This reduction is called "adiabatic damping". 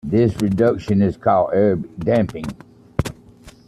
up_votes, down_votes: 1, 2